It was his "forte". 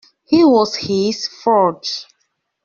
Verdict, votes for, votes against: rejected, 0, 2